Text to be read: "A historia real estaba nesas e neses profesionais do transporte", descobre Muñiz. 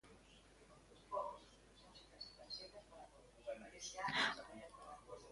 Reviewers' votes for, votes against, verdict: 0, 2, rejected